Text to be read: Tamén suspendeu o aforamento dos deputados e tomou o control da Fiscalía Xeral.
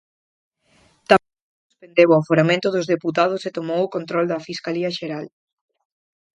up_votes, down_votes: 0, 4